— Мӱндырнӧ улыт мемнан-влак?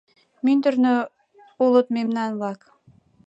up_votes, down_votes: 2, 0